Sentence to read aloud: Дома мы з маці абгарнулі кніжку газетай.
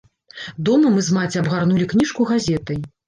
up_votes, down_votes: 2, 0